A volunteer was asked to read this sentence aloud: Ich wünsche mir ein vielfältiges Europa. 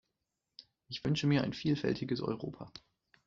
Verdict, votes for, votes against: rejected, 1, 2